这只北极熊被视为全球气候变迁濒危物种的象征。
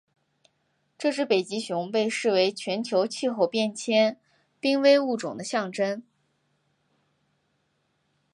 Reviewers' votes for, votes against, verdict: 2, 0, accepted